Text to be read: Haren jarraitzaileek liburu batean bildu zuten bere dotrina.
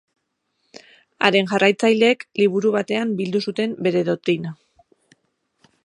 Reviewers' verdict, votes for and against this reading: rejected, 2, 2